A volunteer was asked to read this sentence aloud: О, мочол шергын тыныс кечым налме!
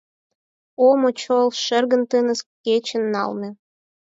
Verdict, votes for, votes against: accepted, 4, 2